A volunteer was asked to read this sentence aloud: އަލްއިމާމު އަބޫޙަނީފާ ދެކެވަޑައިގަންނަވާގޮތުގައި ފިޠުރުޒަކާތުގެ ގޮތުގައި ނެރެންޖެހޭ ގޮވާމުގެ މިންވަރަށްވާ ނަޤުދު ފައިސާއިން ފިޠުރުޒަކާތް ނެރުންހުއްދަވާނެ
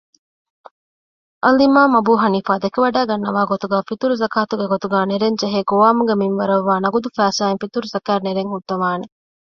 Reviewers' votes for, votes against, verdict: 2, 0, accepted